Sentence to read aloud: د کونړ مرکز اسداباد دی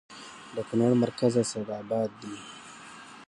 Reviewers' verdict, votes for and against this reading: rejected, 1, 2